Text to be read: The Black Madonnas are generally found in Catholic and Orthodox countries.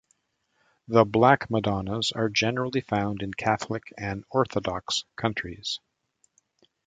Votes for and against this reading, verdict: 2, 0, accepted